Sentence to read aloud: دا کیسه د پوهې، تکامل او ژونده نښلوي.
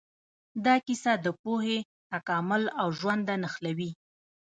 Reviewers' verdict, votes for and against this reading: rejected, 1, 2